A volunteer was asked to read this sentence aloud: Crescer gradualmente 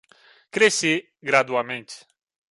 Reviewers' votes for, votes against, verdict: 1, 2, rejected